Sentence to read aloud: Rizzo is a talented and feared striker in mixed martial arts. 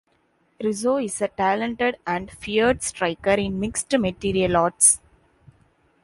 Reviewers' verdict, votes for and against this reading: rejected, 1, 2